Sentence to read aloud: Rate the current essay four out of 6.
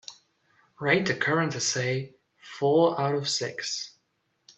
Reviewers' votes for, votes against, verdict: 0, 2, rejected